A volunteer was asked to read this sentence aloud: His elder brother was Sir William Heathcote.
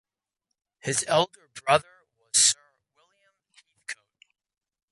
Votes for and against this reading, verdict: 0, 2, rejected